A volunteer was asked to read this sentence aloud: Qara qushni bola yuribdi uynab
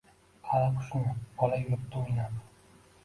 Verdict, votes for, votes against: rejected, 0, 2